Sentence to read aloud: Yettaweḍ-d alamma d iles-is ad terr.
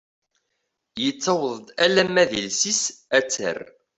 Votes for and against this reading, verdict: 2, 0, accepted